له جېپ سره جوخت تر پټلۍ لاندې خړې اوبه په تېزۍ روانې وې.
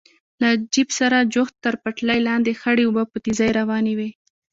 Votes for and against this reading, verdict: 1, 2, rejected